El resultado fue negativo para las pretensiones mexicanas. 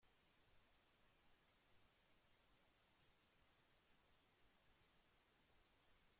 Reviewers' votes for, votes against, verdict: 0, 2, rejected